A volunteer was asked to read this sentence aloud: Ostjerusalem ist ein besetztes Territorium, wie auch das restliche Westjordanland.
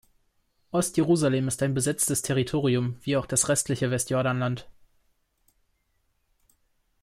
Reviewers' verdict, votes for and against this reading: accepted, 2, 0